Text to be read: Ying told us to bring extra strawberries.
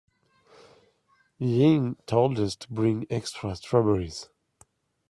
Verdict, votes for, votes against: accepted, 2, 0